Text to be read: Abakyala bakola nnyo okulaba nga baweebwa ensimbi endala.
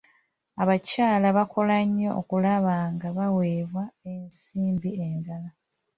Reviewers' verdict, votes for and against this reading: accepted, 2, 0